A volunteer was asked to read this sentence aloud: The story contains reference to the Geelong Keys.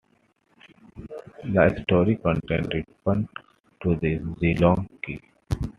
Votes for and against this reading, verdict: 2, 1, accepted